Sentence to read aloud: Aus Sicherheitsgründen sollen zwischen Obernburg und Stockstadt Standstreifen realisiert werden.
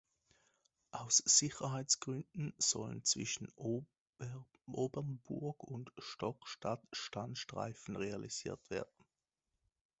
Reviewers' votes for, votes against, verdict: 0, 2, rejected